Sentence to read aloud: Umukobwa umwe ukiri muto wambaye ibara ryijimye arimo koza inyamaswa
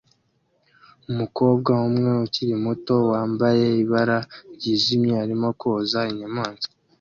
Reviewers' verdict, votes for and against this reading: accepted, 2, 0